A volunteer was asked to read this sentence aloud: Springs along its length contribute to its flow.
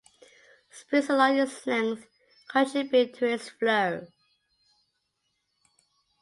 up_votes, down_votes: 1, 2